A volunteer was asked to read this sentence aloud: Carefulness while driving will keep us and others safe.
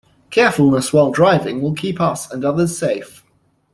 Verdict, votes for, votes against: accepted, 2, 0